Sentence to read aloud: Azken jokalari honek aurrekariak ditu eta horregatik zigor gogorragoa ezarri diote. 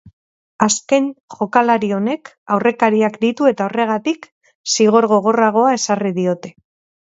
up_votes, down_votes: 2, 0